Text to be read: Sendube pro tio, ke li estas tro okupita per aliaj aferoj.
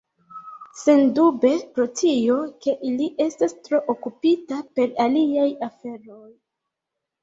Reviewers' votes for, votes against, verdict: 1, 2, rejected